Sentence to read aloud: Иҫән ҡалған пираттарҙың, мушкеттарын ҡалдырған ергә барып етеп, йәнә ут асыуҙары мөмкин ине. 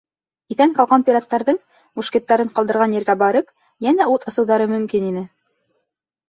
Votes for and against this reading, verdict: 1, 2, rejected